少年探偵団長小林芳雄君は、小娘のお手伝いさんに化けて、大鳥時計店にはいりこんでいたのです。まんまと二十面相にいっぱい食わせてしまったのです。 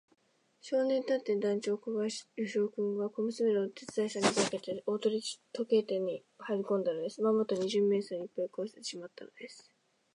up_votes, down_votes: 0, 2